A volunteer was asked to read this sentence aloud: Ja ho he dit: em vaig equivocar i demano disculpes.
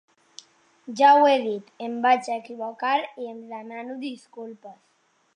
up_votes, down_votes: 0, 2